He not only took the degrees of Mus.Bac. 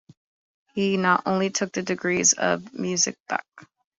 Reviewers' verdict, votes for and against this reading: accepted, 2, 1